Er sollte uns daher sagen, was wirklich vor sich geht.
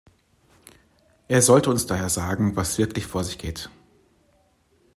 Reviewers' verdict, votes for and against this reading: accepted, 2, 0